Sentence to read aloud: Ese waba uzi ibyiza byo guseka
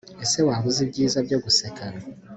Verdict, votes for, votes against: accepted, 2, 0